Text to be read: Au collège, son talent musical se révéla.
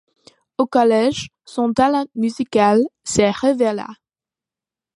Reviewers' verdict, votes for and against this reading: rejected, 0, 2